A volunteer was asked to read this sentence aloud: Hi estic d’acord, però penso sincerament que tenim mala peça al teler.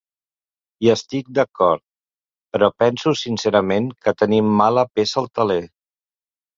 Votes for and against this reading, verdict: 2, 0, accepted